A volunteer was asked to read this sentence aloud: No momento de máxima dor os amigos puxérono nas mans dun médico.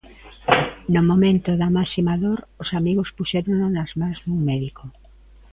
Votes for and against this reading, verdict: 0, 2, rejected